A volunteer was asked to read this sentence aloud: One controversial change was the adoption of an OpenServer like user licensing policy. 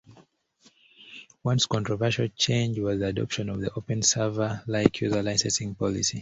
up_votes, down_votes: 0, 2